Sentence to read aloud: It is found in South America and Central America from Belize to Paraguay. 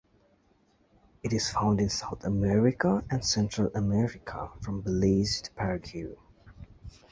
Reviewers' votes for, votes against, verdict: 1, 2, rejected